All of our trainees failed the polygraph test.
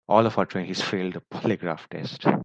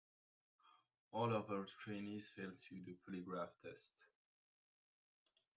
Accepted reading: first